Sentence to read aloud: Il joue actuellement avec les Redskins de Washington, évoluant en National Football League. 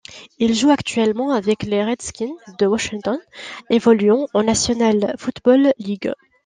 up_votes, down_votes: 2, 0